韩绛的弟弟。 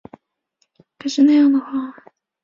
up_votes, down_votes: 0, 2